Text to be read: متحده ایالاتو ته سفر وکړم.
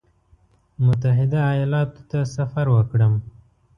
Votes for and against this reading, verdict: 1, 2, rejected